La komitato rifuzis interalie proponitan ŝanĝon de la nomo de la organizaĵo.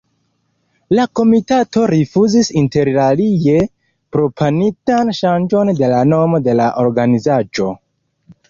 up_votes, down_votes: 0, 2